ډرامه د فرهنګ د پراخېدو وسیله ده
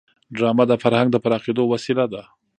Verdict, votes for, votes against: rejected, 1, 2